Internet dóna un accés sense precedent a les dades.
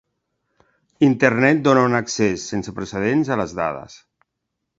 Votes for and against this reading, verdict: 1, 2, rejected